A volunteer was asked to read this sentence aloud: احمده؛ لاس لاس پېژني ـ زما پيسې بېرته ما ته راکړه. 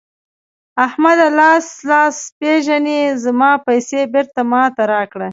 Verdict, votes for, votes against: accepted, 2, 0